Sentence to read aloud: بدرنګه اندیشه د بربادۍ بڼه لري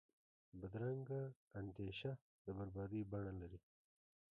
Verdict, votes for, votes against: rejected, 1, 2